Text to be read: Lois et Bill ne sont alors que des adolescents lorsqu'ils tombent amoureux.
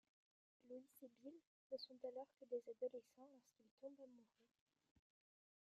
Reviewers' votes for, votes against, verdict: 0, 3, rejected